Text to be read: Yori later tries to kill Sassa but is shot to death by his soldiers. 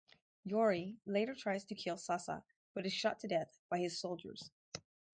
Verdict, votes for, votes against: rejected, 2, 2